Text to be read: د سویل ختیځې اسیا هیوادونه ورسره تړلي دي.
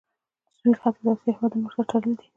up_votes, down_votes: 2, 0